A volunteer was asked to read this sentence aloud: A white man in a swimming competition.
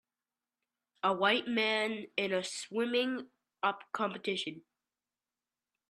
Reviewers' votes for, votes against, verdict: 1, 2, rejected